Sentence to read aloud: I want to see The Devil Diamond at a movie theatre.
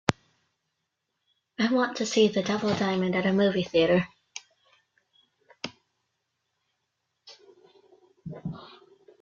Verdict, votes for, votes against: accepted, 2, 0